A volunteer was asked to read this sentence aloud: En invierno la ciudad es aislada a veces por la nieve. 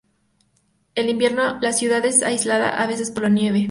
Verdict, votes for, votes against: accepted, 2, 0